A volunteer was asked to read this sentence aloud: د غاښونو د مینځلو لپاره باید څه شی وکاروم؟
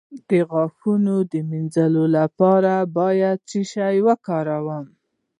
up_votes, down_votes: 2, 1